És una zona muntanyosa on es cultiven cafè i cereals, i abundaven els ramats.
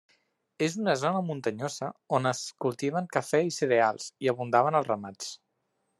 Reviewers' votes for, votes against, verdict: 3, 0, accepted